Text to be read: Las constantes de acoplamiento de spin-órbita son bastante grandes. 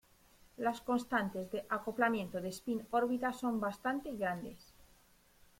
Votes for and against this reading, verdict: 1, 2, rejected